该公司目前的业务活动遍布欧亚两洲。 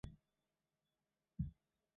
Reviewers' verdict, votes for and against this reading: rejected, 0, 2